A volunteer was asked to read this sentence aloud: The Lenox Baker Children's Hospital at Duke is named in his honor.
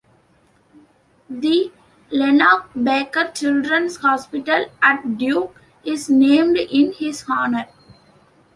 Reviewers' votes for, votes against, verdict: 2, 0, accepted